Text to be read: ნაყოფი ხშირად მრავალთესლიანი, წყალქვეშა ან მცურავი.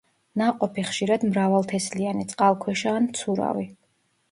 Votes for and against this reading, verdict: 2, 0, accepted